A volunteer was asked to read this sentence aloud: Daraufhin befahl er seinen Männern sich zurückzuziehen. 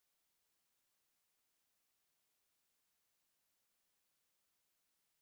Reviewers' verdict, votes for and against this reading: rejected, 0, 2